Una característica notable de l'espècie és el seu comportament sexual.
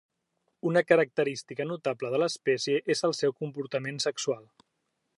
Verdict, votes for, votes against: accepted, 3, 0